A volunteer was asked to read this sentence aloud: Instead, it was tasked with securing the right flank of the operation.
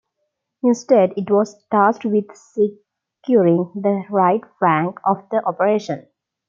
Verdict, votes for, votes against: accepted, 2, 0